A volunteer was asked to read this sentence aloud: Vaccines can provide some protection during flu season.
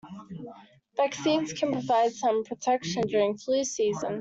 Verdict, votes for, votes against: accepted, 2, 0